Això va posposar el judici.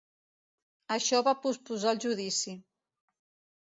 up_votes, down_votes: 2, 0